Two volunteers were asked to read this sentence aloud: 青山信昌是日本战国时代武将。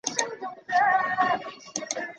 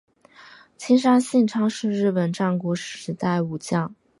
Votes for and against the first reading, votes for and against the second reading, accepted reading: 0, 3, 4, 0, second